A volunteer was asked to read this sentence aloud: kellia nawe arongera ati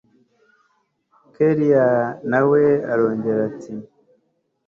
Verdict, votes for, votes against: accepted, 2, 0